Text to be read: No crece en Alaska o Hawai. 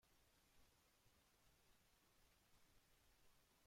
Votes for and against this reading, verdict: 0, 2, rejected